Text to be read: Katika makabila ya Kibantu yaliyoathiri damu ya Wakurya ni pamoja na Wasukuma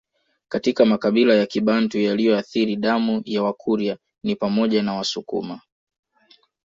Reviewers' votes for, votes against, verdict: 2, 0, accepted